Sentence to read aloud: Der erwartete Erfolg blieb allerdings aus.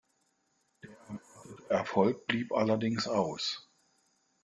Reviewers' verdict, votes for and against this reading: rejected, 0, 2